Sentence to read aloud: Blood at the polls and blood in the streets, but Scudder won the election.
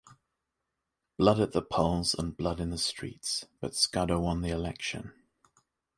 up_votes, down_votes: 2, 1